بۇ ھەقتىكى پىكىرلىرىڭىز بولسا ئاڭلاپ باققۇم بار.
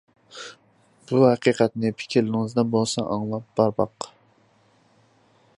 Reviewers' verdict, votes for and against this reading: rejected, 0, 2